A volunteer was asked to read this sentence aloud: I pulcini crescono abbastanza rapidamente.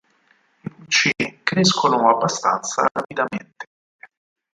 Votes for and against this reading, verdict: 2, 4, rejected